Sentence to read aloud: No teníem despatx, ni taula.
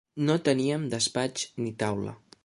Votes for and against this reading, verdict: 3, 0, accepted